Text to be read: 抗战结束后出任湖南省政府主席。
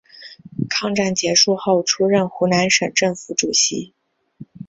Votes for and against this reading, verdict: 4, 1, accepted